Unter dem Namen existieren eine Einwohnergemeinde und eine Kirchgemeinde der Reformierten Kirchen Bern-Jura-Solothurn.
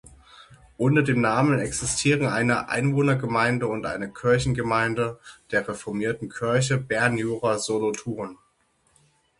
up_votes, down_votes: 0, 6